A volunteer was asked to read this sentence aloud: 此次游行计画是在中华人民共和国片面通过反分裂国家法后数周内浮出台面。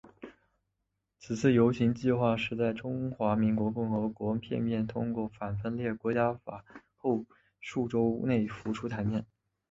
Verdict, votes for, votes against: rejected, 2, 3